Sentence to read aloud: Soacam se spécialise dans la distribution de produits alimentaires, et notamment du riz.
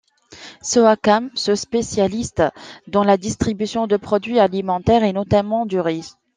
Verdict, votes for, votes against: rejected, 1, 2